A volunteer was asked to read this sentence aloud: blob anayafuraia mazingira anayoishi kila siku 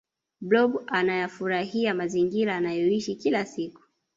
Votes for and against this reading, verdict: 1, 2, rejected